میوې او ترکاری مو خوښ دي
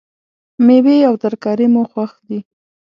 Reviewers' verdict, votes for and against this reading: accepted, 2, 0